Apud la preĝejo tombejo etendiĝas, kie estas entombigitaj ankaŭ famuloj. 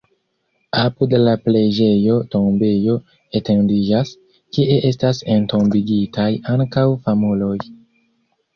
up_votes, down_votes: 1, 2